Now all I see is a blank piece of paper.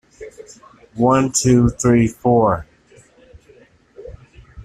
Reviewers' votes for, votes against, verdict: 0, 2, rejected